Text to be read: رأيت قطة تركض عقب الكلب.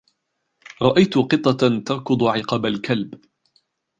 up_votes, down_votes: 1, 2